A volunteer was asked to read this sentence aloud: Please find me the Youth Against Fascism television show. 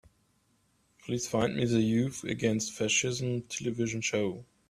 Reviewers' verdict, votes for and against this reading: accepted, 2, 1